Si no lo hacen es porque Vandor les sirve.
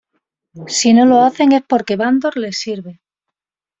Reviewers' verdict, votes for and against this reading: accepted, 2, 0